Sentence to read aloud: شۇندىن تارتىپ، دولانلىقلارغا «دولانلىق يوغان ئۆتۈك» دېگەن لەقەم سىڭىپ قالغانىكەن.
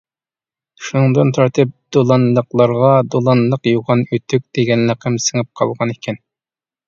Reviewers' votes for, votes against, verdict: 2, 0, accepted